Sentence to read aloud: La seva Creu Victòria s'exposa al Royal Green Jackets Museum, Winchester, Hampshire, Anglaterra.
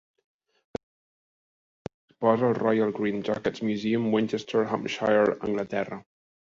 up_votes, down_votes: 0, 2